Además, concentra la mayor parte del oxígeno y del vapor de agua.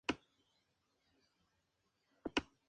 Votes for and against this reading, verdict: 2, 2, rejected